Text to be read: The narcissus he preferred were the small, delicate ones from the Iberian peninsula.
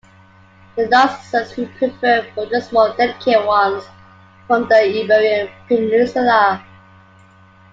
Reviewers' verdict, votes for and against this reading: rejected, 0, 2